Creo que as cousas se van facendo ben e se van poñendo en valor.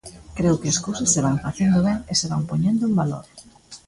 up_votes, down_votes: 2, 0